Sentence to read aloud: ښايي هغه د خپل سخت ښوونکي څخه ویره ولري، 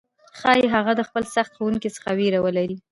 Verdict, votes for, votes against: accepted, 2, 1